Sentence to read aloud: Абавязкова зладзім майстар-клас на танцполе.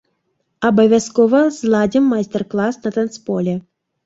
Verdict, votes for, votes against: rejected, 1, 2